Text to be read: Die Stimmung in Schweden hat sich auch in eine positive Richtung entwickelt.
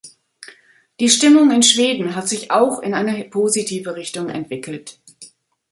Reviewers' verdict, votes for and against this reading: rejected, 1, 2